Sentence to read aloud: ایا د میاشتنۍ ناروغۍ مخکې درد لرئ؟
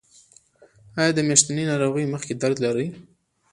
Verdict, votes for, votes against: rejected, 0, 2